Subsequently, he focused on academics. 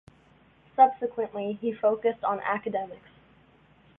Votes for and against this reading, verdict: 2, 1, accepted